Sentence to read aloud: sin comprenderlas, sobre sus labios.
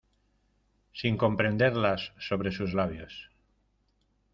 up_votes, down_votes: 2, 0